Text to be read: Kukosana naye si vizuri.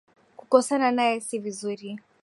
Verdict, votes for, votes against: accepted, 2, 1